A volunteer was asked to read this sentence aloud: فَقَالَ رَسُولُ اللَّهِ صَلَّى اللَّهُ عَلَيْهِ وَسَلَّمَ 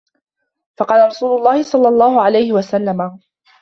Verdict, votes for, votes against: accepted, 2, 0